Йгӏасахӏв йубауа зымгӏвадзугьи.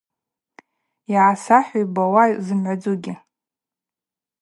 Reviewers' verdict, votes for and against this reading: accepted, 4, 0